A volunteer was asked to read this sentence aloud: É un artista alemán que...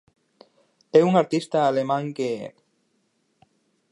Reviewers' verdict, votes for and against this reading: accepted, 4, 0